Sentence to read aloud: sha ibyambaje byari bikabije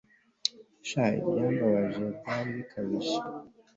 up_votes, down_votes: 4, 0